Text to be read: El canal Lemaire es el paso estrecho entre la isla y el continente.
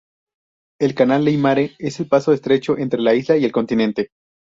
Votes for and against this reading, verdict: 0, 2, rejected